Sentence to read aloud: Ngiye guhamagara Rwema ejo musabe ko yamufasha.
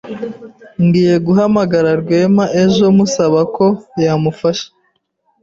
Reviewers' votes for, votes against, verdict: 1, 2, rejected